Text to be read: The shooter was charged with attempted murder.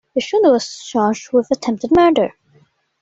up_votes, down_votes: 2, 0